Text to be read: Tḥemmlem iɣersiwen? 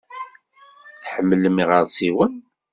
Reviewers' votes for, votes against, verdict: 2, 0, accepted